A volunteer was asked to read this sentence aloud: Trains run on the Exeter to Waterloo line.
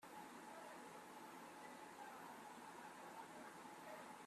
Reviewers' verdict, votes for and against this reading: rejected, 0, 2